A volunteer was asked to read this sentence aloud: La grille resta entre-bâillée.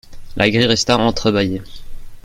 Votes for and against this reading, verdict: 1, 2, rejected